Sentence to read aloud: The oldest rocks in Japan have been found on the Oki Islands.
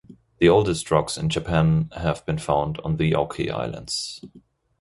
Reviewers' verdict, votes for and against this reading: accepted, 2, 0